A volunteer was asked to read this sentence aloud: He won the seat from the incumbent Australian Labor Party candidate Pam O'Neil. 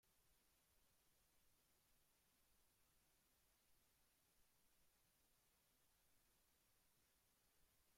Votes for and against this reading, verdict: 0, 2, rejected